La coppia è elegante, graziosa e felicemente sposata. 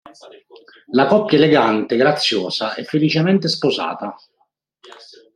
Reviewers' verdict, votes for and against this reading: rejected, 1, 2